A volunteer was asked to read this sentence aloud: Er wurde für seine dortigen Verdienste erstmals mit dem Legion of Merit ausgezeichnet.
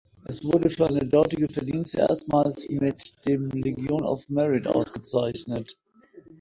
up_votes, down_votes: 0, 2